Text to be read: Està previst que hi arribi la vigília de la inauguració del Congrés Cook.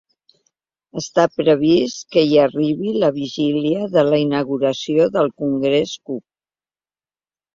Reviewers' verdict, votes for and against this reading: accepted, 2, 0